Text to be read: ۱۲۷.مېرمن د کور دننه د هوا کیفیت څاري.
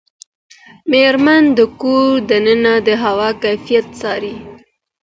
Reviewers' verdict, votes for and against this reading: rejected, 0, 2